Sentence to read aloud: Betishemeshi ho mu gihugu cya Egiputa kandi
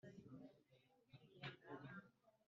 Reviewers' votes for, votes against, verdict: 0, 2, rejected